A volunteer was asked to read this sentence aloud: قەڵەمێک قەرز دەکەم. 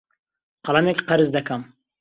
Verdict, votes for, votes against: accepted, 2, 1